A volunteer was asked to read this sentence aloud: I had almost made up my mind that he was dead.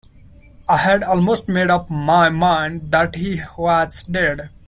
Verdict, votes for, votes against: rejected, 1, 2